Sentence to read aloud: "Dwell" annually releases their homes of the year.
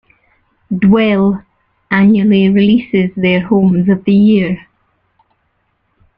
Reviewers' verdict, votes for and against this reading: accepted, 2, 0